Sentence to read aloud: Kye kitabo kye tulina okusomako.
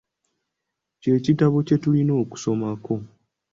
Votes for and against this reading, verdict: 2, 0, accepted